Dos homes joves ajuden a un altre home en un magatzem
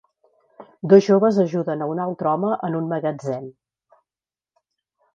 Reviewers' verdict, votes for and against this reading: rejected, 0, 2